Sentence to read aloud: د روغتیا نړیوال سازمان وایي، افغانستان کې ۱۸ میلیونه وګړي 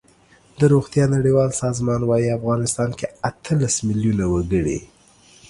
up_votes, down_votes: 0, 2